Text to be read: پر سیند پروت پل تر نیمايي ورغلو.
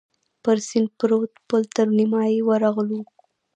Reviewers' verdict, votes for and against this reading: rejected, 0, 2